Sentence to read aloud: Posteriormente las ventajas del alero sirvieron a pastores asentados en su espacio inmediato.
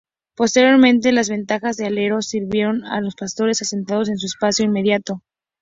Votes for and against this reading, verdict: 0, 2, rejected